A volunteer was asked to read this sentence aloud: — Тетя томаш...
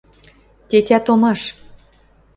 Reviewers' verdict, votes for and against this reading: accepted, 2, 0